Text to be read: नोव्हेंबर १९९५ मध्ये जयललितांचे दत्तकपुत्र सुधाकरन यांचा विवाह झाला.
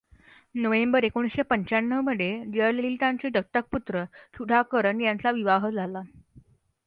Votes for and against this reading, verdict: 0, 2, rejected